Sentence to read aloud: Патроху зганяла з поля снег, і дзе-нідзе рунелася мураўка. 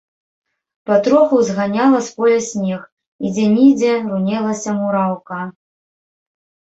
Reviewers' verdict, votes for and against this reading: rejected, 1, 2